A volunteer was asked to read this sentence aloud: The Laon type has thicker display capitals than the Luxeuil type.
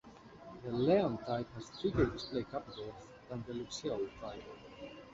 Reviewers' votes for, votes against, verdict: 0, 2, rejected